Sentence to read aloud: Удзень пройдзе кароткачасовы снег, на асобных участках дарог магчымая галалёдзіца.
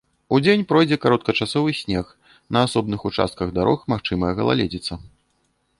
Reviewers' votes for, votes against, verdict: 0, 2, rejected